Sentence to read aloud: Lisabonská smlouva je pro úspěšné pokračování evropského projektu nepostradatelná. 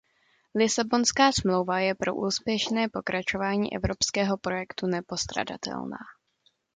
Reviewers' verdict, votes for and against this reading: accepted, 2, 0